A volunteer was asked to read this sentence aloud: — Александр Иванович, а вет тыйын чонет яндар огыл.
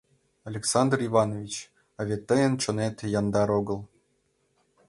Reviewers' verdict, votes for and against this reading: accepted, 2, 0